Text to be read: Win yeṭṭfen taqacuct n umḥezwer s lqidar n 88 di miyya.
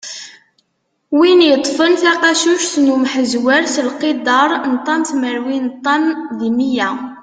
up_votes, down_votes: 0, 2